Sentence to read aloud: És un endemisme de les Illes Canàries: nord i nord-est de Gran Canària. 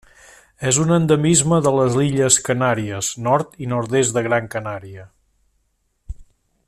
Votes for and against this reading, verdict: 3, 0, accepted